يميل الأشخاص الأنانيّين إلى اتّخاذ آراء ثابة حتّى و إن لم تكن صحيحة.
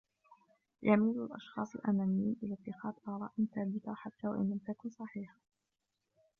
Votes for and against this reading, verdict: 0, 2, rejected